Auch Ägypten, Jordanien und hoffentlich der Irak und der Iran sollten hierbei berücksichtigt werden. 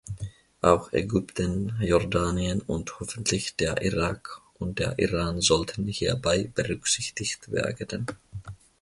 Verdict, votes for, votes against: rejected, 2, 3